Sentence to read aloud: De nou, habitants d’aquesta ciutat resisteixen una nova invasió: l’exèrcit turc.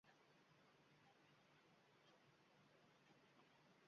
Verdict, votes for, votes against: rejected, 1, 2